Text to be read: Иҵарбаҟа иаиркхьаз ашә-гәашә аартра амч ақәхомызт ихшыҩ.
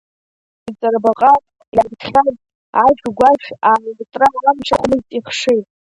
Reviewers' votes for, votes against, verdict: 0, 2, rejected